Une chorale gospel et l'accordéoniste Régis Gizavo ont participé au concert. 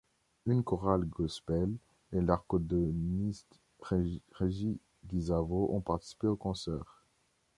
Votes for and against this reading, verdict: 0, 2, rejected